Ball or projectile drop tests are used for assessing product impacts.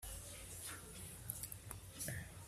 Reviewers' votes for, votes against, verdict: 0, 2, rejected